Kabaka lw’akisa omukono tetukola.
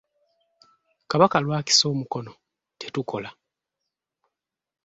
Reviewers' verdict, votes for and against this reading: accepted, 2, 0